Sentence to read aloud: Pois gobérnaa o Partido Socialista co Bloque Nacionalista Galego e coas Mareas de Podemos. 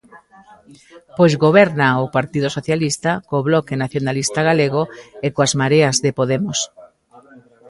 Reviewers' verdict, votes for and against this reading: accepted, 2, 0